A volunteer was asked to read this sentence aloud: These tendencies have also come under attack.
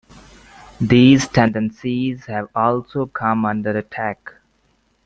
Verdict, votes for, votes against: accepted, 2, 0